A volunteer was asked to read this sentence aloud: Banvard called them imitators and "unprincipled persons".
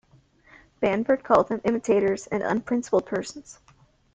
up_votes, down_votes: 2, 1